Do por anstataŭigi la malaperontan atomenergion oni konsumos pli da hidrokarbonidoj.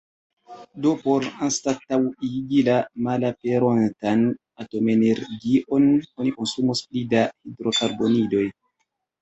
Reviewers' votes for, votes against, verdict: 1, 2, rejected